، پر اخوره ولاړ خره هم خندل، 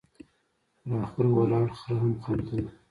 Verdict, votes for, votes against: accepted, 2, 1